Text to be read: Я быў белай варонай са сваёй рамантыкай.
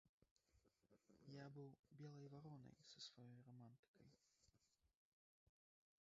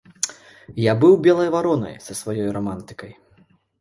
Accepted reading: second